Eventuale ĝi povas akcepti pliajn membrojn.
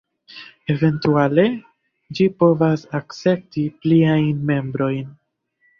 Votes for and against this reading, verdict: 1, 2, rejected